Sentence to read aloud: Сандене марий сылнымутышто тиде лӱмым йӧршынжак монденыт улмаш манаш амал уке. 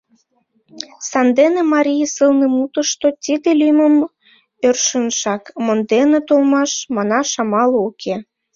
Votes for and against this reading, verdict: 0, 2, rejected